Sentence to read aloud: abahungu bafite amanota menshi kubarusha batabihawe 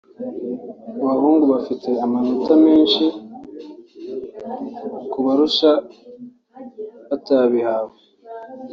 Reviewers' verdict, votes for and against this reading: rejected, 0, 2